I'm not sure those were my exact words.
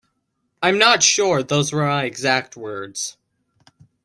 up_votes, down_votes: 2, 1